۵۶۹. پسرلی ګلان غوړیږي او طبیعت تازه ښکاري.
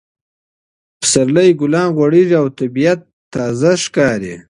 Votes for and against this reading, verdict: 0, 2, rejected